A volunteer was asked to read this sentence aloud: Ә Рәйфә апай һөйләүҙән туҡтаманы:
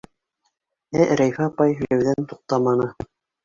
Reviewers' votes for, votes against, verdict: 1, 2, rejected